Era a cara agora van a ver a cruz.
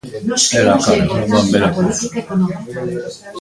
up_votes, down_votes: 0, 2